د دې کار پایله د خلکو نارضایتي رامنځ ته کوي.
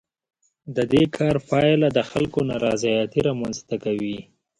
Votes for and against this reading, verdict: 2, 0, accepted